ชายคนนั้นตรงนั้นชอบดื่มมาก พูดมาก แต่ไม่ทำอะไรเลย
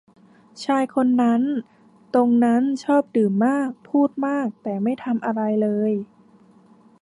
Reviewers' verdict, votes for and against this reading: rejected, 0, 2